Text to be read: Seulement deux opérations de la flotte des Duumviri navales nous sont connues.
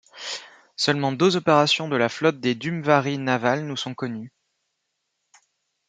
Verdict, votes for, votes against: rejected, 0, 2